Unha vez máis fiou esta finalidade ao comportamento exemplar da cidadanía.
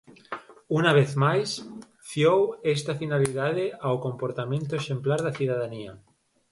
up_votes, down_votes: 4, 2